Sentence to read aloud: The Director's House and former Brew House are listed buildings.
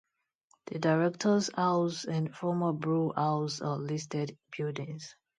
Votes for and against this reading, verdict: 2, 0, accepted